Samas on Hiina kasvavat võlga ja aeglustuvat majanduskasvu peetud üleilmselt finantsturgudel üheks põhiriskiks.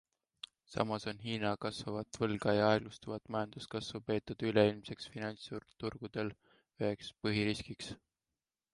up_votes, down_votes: 2, 0